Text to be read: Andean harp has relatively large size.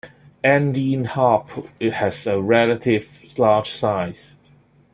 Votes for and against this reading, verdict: 0, 2, rejected